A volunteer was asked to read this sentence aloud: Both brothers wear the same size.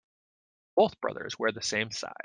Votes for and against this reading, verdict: 2, 1, accepted